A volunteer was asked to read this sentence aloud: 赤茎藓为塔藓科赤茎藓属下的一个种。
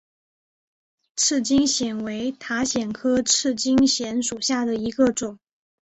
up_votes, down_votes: 3, 0